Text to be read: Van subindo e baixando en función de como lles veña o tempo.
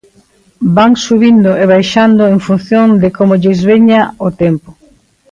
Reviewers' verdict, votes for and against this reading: accepted, 2, 0